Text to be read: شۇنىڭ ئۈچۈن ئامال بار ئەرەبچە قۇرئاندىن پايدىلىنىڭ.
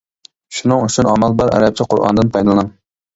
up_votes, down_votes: 0, 2